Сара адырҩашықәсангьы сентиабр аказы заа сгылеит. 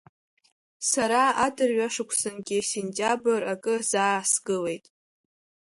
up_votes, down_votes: 0, 2